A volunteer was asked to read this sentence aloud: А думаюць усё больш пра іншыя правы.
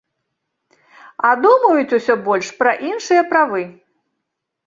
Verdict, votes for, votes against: accepted, 2, 0